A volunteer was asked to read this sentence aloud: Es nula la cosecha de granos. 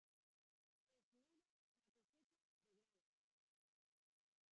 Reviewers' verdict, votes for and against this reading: rejected, 0, 2